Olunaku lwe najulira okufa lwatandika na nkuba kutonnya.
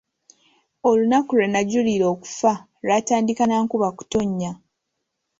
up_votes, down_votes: 2, 0